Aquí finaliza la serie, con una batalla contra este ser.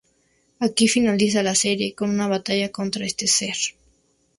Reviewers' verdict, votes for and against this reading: accepted, 2, 0